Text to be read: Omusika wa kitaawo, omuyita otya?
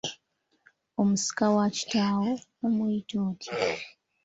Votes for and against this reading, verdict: 2, 0, accepted